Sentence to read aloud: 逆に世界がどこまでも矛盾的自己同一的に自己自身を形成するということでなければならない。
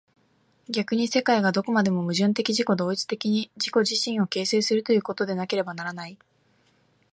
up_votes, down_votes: 2, 0